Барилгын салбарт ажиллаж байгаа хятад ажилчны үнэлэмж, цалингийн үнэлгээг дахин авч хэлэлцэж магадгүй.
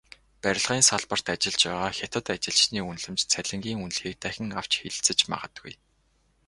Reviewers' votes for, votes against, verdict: 2, 0, accepted